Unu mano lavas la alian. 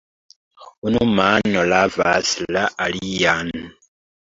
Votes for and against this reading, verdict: 0, 2, rejected